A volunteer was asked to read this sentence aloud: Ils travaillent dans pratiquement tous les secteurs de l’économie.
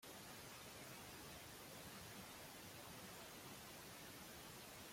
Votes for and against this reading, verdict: 0, 3, rejected